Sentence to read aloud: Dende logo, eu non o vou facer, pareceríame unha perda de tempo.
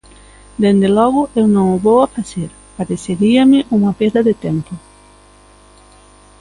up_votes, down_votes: 0, 2